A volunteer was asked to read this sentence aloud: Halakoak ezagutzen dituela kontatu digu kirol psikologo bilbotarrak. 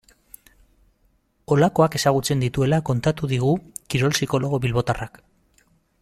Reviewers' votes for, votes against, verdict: 2, 1, accepted